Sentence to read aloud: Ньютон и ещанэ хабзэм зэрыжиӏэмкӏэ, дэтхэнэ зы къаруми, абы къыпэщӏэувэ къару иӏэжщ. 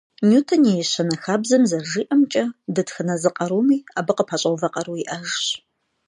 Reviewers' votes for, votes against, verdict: 2, 0, accepted